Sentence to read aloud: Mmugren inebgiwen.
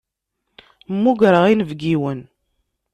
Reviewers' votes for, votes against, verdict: 1, 2, rejected